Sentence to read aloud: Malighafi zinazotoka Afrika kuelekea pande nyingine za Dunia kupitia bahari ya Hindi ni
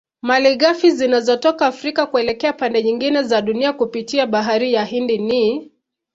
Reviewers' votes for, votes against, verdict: 2, 0, accepted